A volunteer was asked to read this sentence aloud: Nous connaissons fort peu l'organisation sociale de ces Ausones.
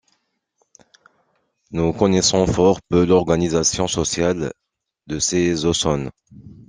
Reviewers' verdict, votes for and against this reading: accepted, 2, 0